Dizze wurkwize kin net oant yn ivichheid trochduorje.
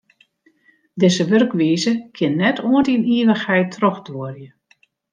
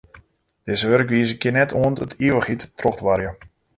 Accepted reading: first